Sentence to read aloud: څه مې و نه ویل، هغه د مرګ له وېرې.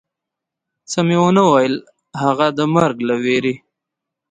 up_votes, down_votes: 0, 2